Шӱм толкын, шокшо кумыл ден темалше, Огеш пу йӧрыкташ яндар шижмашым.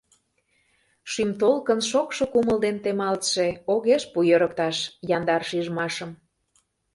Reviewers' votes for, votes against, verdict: 1, 2, rejected